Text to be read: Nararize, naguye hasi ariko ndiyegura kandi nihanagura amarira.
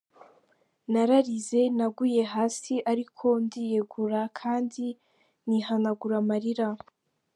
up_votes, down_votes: 2, 1